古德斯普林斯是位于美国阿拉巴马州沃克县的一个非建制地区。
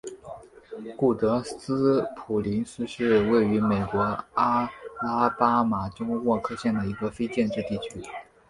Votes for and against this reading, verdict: 2, 0, accepted